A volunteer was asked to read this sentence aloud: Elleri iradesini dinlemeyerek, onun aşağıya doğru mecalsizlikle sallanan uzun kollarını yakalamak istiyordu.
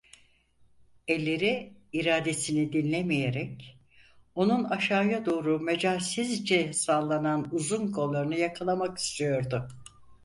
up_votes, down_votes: 2, 4